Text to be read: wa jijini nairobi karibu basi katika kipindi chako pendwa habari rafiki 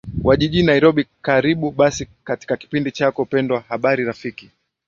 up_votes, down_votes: 8, 3